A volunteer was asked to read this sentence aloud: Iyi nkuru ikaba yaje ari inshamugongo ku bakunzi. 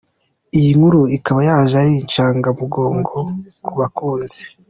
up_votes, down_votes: 1, 2